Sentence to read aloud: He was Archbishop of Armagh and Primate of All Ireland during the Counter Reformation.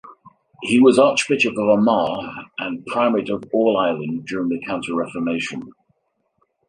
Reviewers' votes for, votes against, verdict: 2, 1, accepted